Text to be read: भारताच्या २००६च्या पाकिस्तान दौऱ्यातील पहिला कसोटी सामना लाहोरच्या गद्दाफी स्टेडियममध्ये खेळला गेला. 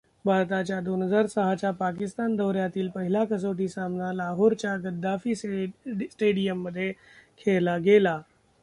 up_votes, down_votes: 0, 2